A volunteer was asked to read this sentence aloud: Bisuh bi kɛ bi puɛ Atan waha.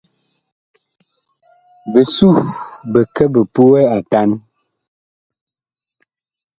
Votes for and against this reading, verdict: 0, 2, rejected